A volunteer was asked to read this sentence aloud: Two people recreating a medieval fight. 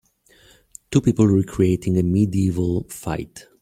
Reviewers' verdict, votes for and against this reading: rejected, 0, 2